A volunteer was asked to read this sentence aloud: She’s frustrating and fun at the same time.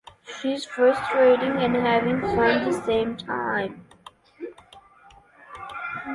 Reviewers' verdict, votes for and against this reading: rejected, 0, 2